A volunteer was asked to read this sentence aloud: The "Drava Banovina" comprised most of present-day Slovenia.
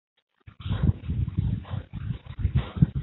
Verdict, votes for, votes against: rejected, 0, 2